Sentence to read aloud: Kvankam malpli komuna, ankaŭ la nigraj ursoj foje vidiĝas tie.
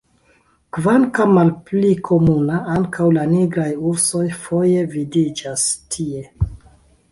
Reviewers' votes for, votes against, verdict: 2, 0, accepted